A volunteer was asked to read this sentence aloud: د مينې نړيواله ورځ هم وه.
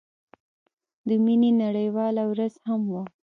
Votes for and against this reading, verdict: 3, 0, accepted